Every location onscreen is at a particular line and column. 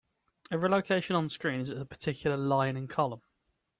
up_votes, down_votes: 3, 0